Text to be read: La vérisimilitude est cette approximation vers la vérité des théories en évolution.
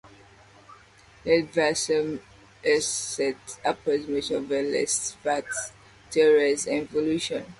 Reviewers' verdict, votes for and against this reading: rejected, 0, 2